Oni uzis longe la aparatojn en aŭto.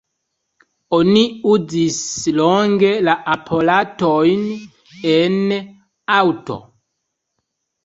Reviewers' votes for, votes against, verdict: 2, 1, accepted